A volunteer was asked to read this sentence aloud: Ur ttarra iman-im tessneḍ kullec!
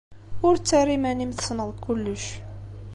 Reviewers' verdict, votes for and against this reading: accepted, 2, 0